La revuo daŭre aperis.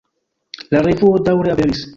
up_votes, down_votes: 2, 1